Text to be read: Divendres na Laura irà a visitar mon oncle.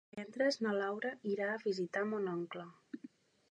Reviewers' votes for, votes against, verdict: 2, 3, rejected